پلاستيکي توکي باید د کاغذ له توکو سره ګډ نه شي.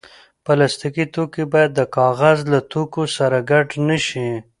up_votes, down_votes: 2, 0